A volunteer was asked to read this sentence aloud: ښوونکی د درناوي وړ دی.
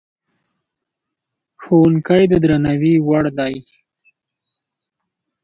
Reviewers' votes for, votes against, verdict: 3, 0, accepted